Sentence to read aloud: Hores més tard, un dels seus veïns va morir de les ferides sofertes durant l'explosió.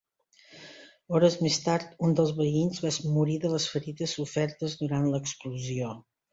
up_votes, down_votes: 0, 2